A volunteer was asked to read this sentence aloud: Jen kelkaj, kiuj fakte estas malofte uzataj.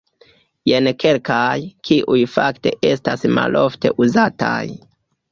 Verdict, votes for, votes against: accepted, 2, 1